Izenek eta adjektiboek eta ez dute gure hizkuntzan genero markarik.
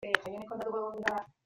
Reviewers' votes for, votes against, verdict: 0, 2, rejected